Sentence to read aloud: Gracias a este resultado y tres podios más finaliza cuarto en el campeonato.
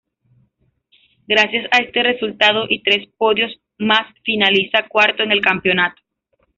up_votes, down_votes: 2, 1